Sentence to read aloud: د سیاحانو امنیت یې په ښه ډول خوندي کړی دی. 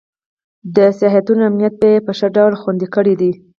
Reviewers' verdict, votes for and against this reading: accepted, 4, 0